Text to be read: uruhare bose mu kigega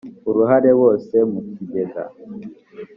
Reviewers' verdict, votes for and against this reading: accepted, 2, 0